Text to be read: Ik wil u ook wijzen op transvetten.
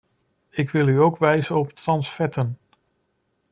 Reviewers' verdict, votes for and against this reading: accepted, 2, 1